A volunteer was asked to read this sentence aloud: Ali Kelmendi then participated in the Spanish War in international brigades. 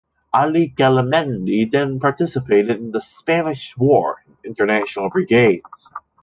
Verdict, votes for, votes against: rejected, 1, 2